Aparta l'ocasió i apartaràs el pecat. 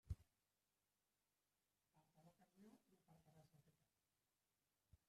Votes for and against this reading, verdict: 0, 2, rejected